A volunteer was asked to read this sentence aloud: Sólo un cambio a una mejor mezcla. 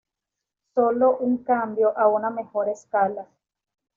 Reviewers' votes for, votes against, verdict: 1, 2, rejected